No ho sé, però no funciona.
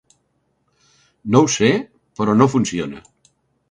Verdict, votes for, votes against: accepted, 2, 0